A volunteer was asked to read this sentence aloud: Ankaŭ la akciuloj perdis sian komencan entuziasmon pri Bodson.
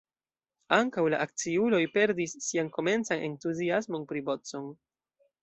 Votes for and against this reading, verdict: 0, 2, rejected